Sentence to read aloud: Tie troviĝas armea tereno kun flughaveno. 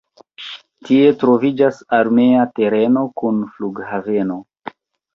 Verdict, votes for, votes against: accepted, 2, 1